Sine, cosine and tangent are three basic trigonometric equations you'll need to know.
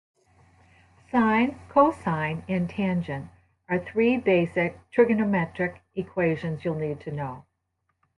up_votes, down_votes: 2, 0